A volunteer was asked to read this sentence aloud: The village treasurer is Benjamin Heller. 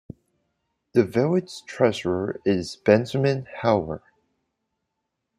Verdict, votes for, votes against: rejected, 1, 2